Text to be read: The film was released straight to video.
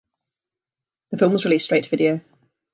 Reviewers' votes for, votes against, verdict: 2, 1, accepted